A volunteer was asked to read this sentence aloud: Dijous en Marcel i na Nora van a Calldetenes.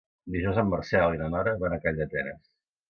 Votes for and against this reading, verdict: 2, 0, accepted